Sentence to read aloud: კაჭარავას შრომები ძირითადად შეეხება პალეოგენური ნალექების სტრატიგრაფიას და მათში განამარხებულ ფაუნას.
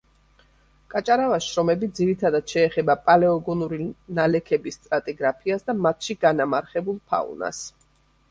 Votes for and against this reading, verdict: 1, 3, rejected